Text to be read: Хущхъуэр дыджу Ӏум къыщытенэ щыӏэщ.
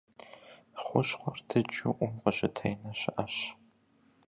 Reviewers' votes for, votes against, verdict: 2, 0, accepted